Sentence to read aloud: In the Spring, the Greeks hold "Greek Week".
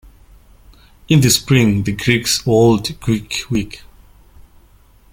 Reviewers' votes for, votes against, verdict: 2, 0, accepted